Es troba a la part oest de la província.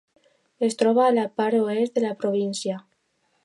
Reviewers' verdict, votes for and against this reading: accepted, 2, 0